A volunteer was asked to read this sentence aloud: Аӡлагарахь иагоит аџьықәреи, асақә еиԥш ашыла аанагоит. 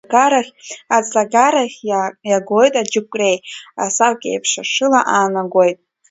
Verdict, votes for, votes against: rejected, 0, 3